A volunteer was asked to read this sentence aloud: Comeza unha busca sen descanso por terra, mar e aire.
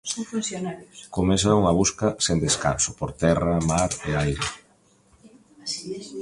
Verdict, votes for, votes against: rejected, 0, 2